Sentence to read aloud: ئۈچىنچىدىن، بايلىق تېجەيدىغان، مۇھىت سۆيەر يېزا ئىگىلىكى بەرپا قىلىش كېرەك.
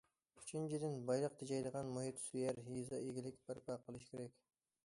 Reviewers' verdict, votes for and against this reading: rejected, 0, 2